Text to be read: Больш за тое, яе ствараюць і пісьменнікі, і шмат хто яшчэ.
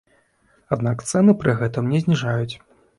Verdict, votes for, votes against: rejected, 1, 2